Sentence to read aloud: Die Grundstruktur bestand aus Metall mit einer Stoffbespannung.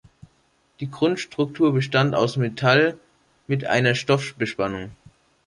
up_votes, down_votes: 2, 3